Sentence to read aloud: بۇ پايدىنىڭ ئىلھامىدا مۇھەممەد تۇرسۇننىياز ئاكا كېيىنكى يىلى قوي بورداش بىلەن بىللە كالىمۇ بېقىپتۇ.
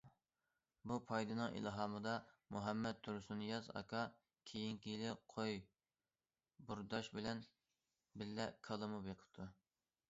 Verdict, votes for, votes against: accepted, 2, 0